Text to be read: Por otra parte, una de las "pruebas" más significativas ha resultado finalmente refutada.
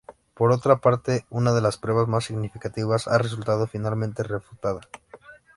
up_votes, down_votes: 2, 0